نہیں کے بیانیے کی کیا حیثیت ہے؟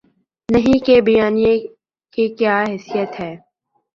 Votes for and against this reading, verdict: 5, 1, accepted